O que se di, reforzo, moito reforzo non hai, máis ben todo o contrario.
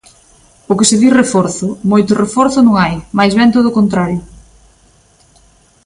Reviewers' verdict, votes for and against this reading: accepted, 2, 0